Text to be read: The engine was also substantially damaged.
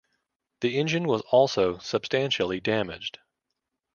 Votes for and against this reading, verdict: 2, 0, accepted